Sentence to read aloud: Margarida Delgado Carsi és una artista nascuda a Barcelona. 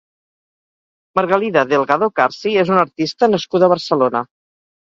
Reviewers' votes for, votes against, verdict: 0, 4, rejected